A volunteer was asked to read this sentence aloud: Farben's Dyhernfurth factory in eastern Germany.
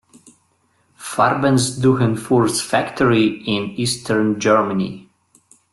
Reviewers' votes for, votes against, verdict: 2, 1, accepted